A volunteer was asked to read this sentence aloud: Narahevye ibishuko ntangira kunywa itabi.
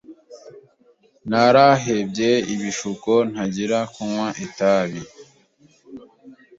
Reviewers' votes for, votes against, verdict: 1, 2, rejected